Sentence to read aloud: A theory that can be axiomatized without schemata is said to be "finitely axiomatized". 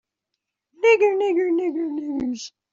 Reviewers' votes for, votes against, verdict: 0, 2, rejected